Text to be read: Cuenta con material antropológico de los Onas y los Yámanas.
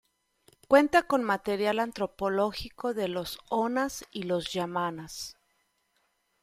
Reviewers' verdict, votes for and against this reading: accepted, 2, 1